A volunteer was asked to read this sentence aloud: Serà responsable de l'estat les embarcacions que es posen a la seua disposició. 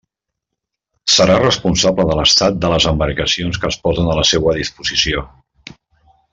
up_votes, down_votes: 2, 3